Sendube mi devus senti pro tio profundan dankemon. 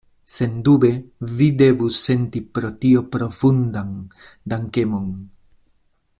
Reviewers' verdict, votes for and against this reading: rejected, 0, 2